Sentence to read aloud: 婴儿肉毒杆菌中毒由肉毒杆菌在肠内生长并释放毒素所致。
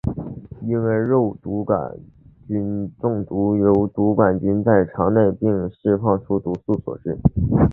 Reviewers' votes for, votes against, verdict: 0, 2, rejected